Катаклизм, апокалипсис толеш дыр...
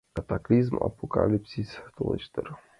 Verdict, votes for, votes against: accepted, 2, 0